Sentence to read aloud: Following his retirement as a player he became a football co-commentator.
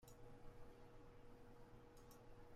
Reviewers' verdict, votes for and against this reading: rejected, 0, 2